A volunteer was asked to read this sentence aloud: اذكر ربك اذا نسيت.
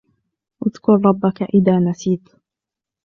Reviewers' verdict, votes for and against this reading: accepted, 2, 0